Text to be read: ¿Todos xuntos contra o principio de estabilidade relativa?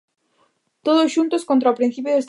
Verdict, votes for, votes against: rejected, 0, 2